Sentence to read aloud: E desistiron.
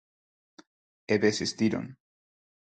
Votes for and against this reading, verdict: 4, 0, accepted